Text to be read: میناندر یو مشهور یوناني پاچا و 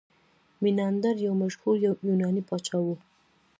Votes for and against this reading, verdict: 2, 0, accepted